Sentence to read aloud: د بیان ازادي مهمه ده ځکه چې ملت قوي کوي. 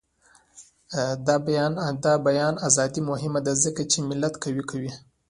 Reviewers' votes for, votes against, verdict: 2, 1, accepted